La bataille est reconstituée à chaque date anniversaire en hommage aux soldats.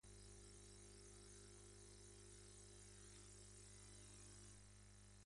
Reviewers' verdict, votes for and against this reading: rejected, 0, 2